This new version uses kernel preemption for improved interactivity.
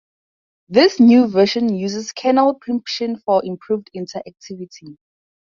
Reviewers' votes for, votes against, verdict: 0, 2, rejected